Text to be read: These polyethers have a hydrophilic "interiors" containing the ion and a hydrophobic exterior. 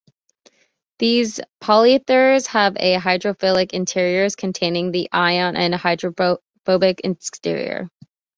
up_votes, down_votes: 2, 0